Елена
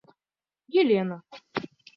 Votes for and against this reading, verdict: 2, 0, accepted